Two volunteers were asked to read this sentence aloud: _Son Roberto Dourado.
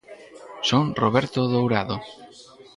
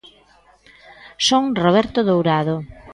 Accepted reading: second